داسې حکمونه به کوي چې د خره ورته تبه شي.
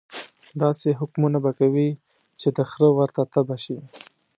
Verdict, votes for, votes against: accepted, 2, 0